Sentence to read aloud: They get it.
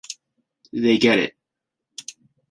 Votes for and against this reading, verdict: 2, 0, accepted